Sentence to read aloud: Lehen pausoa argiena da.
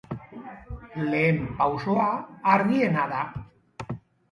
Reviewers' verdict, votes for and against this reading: accepted, 4, 0